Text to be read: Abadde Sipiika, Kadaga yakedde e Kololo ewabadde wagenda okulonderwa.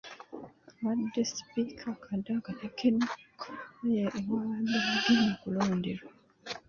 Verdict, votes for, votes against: rejected, 1, 2